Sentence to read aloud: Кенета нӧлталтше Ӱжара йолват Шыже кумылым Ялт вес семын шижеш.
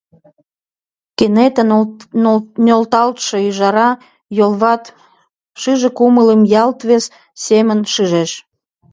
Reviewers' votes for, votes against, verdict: 1, 2, rejected